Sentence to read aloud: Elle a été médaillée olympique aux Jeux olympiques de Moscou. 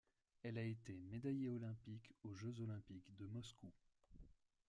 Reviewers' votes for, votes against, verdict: 0, 2, rejected